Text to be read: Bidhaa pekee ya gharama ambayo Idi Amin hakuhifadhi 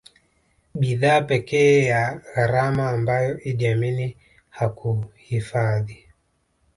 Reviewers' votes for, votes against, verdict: 1, 2, rejected